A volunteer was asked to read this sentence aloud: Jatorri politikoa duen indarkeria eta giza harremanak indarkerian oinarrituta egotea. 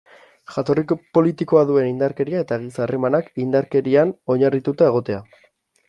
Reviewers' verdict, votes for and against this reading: rejected, 0, 2